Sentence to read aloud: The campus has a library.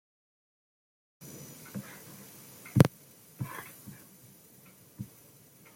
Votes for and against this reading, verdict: 0, 2, rejected